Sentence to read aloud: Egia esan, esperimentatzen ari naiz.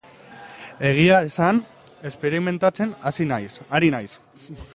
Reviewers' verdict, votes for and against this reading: rejected, 3, 4